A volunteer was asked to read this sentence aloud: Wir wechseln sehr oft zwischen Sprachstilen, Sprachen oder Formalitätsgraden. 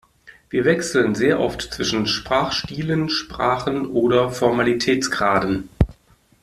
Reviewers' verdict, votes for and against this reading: accepted, 2, 0